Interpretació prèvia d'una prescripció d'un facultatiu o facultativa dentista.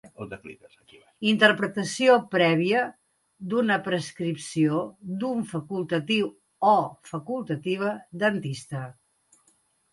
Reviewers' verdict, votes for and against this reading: accepted, 2, 1